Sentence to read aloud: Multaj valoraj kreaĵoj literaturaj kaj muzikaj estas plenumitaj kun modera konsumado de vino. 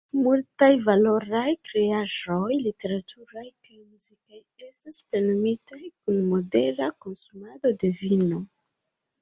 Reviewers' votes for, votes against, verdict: 0, 2, rejected